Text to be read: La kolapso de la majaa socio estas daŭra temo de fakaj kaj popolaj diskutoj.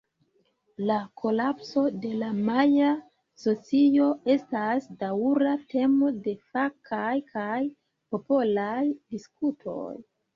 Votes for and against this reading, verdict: 0, 2, rejected